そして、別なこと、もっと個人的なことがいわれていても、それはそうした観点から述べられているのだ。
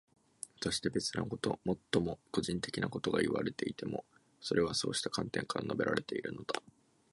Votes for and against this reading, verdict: 2, 3, rejected